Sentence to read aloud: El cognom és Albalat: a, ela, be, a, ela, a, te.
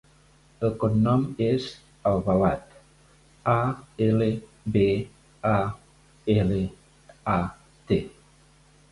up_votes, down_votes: 0, 2